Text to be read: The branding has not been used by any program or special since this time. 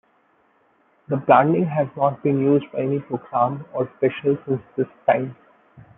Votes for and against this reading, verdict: 2, 1, accepted